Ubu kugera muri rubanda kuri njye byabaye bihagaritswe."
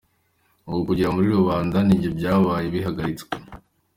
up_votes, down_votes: 2, 0